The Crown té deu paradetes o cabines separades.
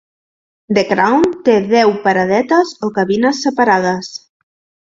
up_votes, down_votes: 4, 0